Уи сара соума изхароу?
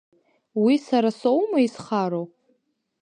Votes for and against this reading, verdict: 2, 0, accepted